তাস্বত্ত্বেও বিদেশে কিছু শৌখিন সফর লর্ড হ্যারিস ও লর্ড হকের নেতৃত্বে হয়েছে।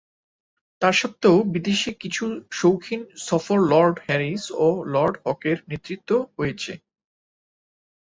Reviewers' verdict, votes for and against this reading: accepted, 2, 1